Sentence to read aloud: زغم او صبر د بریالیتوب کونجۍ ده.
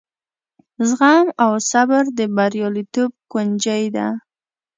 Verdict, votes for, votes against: rejected, 0, 2